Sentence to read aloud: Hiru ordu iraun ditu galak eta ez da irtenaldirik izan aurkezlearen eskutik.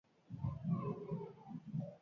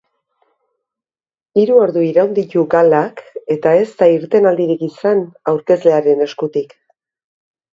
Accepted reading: second